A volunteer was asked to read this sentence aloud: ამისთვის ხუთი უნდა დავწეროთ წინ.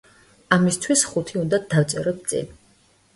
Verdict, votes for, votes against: accepted, 2, 0